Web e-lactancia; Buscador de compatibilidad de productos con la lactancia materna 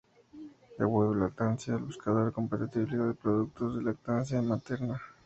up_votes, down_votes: 4, 4